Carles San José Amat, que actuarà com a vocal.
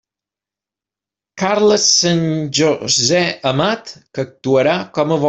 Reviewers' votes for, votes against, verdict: 0, 2, rejected